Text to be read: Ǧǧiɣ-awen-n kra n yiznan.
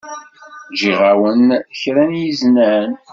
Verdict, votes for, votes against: accepted, 2, 0